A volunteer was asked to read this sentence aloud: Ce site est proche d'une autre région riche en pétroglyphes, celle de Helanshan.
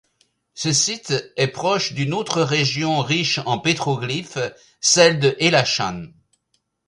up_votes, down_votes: 2, 0